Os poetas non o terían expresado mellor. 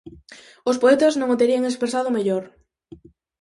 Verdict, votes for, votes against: accepted, 4, 0